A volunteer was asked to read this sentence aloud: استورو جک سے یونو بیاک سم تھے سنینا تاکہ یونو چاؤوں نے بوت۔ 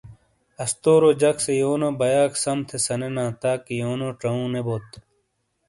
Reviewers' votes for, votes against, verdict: 2, 0, accepted